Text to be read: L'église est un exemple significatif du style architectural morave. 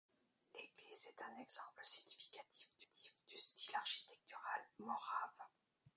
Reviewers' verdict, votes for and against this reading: rejected, 0, 2